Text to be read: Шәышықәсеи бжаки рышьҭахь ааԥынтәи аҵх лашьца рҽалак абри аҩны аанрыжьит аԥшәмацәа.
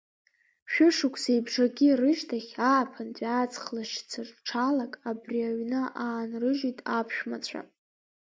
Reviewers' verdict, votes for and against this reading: rejected, 1, 2